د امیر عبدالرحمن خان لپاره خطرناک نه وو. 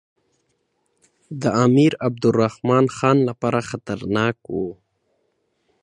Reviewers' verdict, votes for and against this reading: accepted, 2, 0